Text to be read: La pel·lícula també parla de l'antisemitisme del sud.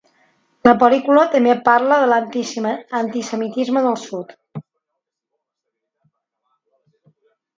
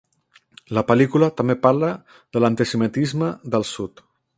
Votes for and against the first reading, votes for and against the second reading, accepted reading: 0, 2, 2, 0, second